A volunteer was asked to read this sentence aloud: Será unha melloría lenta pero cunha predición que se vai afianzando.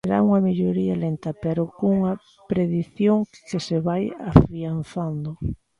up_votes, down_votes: 0, 2